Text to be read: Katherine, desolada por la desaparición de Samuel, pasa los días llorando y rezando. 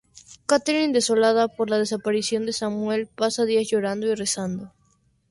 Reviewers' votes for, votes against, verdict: 2, 0, accepted